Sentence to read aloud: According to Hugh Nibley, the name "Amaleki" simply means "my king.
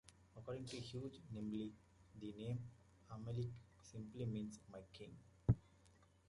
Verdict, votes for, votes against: rejected, 0, 2